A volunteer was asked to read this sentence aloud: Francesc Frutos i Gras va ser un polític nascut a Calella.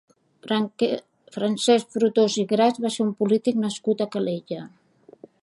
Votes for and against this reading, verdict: 0, 2, rejected